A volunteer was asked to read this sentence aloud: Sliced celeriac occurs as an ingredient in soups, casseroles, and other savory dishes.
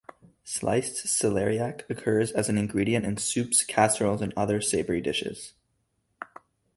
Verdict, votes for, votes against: accepted, 2, 0